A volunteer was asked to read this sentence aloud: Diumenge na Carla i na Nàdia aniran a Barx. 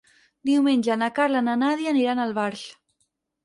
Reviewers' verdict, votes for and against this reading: rejected, 2, 4